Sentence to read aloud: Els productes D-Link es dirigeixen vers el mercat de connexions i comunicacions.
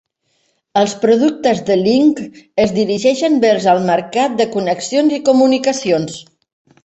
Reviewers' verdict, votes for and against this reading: accepted, 2, 0